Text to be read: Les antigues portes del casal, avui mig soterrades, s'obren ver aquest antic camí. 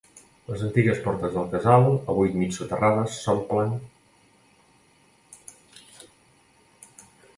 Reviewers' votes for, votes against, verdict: 0, 3, rejected